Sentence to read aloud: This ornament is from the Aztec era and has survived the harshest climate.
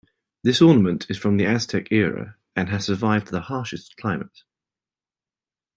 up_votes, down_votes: 2, 0